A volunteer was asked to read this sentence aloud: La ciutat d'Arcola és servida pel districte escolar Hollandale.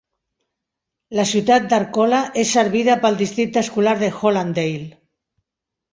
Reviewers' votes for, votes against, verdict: 1, 2, rejected